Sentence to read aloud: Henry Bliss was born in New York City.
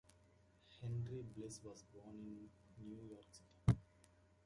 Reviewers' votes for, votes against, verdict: 1, 2, rejected